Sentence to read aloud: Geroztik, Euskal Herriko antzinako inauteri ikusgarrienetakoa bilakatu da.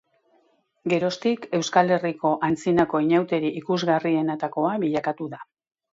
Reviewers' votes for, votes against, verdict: 1, 2, rejected